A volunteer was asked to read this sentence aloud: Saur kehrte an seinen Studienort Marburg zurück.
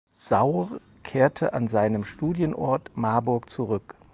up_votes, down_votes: 4, 0